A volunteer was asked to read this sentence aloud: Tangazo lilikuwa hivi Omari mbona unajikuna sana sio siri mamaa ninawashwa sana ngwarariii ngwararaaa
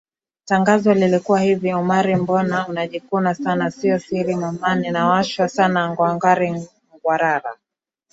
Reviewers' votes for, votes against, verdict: 0, 2, rejected